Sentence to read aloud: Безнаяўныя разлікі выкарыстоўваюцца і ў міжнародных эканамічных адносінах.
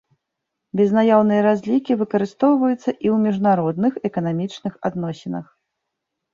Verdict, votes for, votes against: accepted, 2, 0